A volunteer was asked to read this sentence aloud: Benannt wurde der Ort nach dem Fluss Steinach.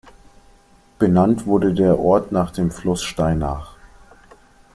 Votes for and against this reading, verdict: 2, 0, accepted